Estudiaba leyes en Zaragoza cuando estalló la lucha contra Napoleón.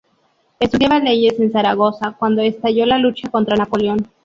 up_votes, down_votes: 2, 0